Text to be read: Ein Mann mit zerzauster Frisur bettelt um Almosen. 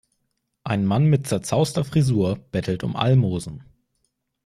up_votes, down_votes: 2, 0